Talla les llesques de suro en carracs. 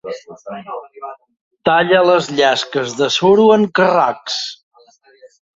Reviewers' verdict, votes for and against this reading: rejected, 0, 2